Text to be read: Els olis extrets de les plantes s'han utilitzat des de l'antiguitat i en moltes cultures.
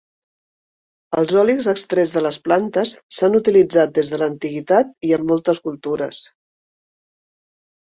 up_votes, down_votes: 2, 0